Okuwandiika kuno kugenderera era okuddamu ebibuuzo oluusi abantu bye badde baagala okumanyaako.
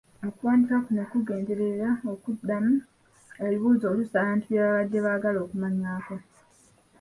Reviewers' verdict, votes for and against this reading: rejected, 1, 2